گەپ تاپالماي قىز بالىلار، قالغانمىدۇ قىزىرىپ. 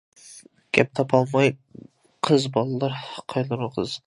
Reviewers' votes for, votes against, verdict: 0, 2, rejected